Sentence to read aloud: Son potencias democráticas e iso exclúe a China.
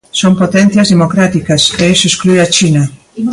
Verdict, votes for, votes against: rejected, 1, 2